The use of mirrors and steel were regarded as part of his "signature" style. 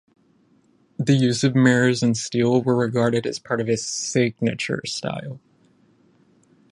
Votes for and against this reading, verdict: 5, 5, rejected